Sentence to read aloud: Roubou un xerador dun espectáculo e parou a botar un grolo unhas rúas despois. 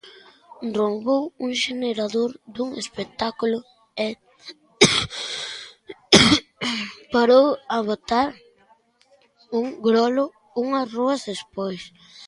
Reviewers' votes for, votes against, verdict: 0, 2, rejected